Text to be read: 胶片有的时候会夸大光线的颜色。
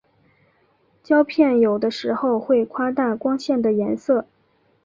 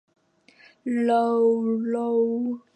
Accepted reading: first